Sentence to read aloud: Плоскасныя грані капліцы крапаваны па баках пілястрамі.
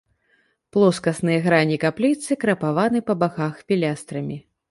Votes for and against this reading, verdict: 2, 0, accepted